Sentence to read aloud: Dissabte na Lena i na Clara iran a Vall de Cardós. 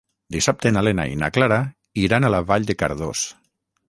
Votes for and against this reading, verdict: 3, 3, rejected